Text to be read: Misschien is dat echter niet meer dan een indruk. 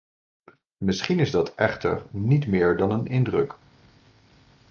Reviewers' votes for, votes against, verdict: 2, 0, accepted